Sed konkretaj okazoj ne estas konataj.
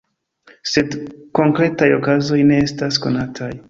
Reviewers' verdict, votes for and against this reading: accepted, 2, 0